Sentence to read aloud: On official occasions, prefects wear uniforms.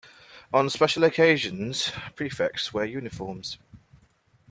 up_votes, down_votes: 0, 2